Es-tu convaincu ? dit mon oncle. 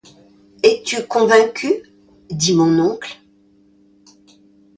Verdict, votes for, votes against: accepted, 2, 0